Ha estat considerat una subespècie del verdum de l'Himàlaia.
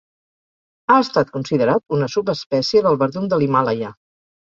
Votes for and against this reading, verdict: 2, 0, accepted